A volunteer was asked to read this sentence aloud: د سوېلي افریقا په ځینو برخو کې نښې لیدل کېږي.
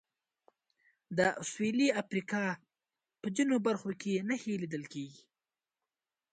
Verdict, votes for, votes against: accepted, 2, 0